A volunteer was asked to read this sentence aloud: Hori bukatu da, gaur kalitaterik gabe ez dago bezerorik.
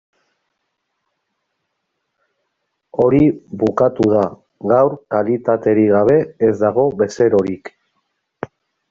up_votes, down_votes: 0, 2